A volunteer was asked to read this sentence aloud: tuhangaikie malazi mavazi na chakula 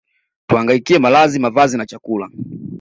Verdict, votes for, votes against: accepted, 2, 0